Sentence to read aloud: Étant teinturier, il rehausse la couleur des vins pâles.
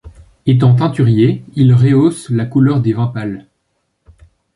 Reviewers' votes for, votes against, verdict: 2, 0, accepted